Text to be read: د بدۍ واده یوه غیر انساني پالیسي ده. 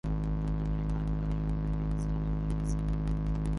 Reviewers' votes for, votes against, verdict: 0, 2, rejected